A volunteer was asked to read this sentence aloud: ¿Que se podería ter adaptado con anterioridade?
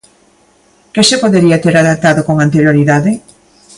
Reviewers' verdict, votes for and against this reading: accepted, 2, 0